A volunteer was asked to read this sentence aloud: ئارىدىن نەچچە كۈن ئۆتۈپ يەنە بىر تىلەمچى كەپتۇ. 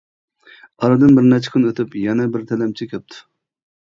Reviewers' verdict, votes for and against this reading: rejected, 1, 3